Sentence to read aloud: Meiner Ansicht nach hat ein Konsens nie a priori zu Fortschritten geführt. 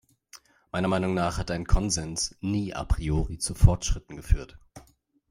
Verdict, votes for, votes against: rejected, 1, 2